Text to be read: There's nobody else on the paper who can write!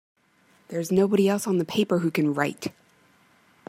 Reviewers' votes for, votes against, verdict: 2, 0, accepted